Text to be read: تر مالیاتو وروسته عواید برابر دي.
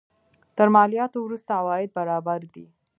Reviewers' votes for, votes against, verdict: 2, 0, accepted